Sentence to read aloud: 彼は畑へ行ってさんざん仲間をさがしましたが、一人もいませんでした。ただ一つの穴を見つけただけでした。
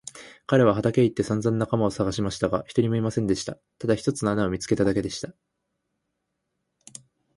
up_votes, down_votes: 2, 0